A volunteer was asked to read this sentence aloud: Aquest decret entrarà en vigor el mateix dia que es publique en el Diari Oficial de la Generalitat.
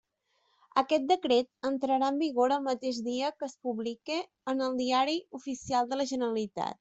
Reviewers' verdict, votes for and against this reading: accepted, 3, 1